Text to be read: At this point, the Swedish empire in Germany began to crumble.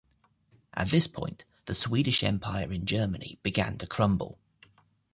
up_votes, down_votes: 2, 0